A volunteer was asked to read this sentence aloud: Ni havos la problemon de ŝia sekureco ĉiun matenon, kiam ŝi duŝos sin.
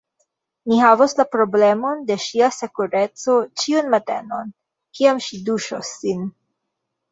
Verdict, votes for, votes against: accepted, 2, 1